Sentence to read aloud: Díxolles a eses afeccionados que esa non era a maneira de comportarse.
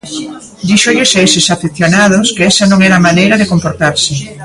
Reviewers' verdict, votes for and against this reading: accepted, 2, 0